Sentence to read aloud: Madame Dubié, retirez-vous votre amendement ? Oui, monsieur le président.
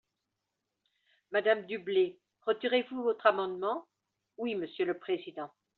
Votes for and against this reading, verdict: 1, 2, rejected